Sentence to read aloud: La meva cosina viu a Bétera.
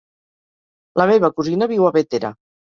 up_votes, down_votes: 4, 0